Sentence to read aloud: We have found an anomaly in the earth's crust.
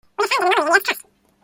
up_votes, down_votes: 0, 2